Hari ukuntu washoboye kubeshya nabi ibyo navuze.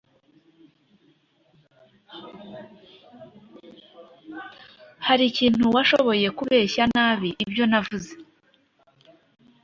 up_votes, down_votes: 0, 2